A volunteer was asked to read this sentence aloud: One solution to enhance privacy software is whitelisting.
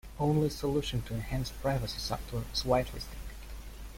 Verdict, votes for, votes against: rejected, 1, 2